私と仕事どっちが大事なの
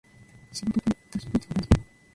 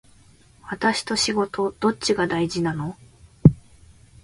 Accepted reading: second